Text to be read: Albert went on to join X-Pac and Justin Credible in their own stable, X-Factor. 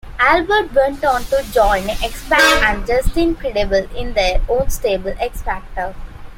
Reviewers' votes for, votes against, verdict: 2, 0, accepted